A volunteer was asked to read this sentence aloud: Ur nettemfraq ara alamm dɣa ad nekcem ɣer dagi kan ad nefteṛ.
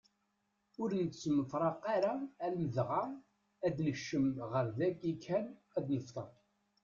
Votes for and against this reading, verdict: 1, 2, rejected